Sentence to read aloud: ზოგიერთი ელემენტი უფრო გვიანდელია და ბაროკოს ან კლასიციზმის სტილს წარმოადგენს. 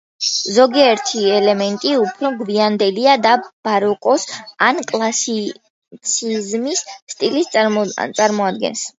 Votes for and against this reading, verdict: 2, 1, accepted